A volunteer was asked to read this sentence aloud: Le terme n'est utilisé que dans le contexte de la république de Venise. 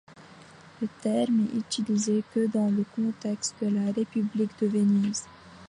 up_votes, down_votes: 0, 2